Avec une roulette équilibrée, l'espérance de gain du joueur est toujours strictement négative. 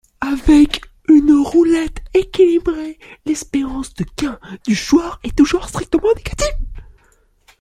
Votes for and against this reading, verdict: 0, 2, rejected